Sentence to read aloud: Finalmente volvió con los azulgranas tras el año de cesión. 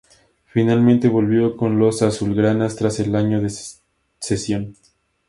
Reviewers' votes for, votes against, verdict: 0, 2, rejected